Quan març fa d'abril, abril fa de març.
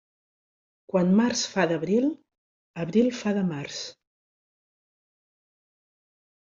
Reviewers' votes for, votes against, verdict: 3, 0, accepted